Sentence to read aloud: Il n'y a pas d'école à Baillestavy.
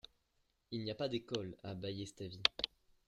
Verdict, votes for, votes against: rejected, 0, 2